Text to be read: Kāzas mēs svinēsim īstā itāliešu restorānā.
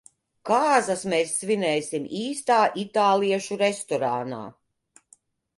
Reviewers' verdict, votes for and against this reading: accepted, 2, 0